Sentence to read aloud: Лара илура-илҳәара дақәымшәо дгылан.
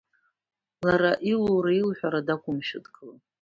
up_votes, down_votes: 2, 0